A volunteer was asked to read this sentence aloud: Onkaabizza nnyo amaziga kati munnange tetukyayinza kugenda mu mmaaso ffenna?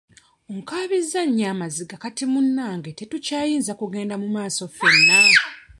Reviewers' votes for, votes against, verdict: 1, 2, rejected